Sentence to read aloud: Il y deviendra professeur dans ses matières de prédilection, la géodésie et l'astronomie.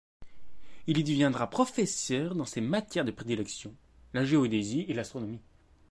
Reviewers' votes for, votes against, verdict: 2, 1, accepted